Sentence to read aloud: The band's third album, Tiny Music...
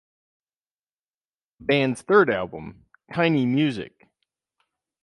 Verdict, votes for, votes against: rejected, 2, 4